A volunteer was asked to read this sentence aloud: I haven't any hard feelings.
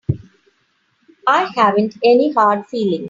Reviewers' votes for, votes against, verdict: 3, 1, accepted